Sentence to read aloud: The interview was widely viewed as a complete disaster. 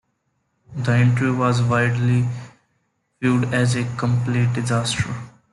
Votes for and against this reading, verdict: 0, 2, rejected